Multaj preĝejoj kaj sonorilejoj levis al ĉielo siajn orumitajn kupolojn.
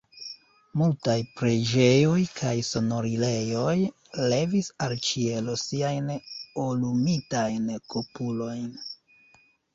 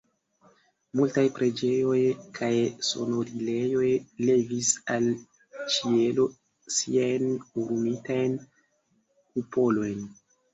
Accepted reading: second